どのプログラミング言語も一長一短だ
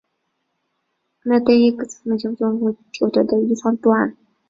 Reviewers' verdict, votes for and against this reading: rejected, 0, 2